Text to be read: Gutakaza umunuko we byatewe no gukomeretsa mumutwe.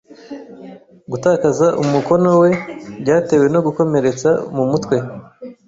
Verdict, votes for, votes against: rejected, 1, 2